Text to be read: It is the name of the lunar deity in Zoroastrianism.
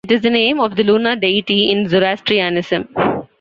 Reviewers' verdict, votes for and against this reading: accepted, 2, 1